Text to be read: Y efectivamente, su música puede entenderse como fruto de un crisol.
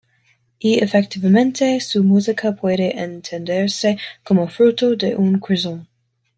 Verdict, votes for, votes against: accepted, 2, 0